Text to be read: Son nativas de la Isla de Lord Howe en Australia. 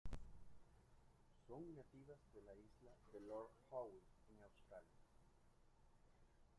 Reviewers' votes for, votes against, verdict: 0, 2, rejected